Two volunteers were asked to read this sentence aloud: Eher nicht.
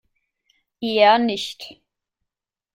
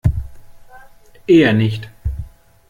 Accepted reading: first